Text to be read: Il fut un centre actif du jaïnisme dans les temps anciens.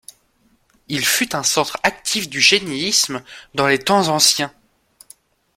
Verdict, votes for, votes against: rejected, 1, 2